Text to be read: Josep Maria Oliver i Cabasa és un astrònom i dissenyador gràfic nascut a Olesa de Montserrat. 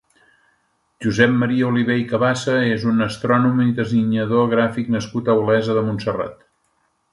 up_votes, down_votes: 2, 1